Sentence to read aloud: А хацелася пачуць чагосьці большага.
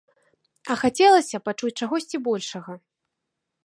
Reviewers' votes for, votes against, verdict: 2, 0, accepted